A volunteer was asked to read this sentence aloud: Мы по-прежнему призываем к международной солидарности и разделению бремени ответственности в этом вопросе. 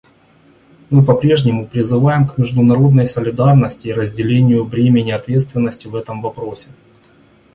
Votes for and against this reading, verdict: 2, 0, accepted